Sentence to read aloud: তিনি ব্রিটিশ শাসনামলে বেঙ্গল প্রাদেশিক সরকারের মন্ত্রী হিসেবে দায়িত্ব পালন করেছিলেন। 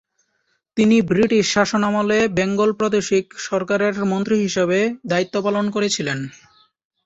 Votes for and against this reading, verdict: 2, 0, accepted